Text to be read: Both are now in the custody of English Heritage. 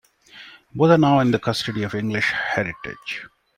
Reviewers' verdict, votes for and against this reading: accepted, 2, 0